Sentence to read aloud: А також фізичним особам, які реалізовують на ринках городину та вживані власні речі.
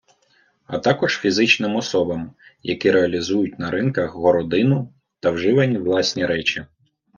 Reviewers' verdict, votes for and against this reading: rejected, 0, 2